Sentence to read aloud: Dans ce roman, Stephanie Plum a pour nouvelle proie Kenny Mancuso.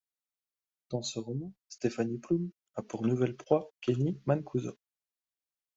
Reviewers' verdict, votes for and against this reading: accepted, 2, 0